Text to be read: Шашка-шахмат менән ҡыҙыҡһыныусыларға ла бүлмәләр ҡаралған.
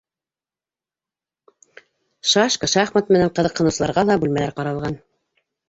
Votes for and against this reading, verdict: 1, 2, rejected